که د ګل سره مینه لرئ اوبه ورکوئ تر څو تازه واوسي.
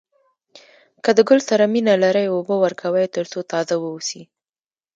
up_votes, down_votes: 0, 2